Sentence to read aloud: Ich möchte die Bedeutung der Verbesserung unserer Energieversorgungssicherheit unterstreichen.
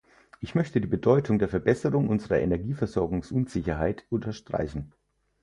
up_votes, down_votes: 2, 4